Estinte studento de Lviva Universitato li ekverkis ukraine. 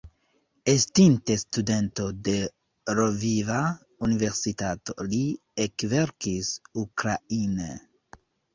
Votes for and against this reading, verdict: 2, 1, accepted